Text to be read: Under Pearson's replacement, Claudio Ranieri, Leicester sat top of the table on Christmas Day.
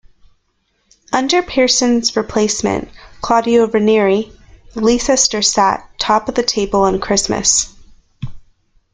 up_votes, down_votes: 1, 2